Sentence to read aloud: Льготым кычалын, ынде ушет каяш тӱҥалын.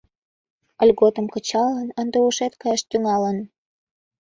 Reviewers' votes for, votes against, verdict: 3, 0, accepted